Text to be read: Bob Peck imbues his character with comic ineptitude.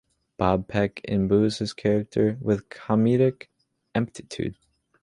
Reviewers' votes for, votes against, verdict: 0, 2, rejected